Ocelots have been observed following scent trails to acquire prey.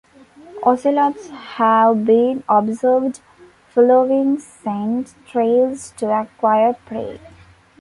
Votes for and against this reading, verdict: 1, 2, rejected